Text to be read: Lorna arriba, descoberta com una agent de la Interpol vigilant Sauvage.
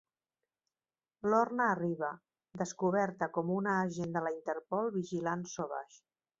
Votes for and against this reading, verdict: 2, 0, accepted